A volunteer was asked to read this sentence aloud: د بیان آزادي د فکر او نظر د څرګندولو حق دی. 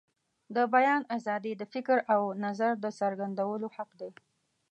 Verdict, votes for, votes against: accepted, 2, 0